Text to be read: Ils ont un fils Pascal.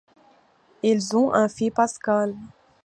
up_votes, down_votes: 0, 2